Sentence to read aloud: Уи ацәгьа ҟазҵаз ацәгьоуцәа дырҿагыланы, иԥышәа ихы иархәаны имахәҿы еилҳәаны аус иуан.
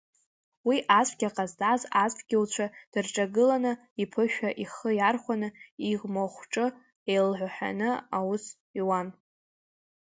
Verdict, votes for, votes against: accepted, 2, 1